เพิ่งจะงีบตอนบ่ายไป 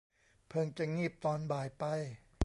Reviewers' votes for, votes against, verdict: 2, 0, accepted